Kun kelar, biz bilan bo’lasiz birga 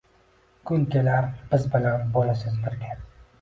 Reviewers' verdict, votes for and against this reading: accepted, 2, 0